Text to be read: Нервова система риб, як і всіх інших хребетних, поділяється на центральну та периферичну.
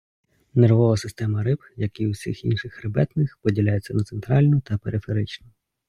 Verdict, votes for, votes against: accepted, 2, 0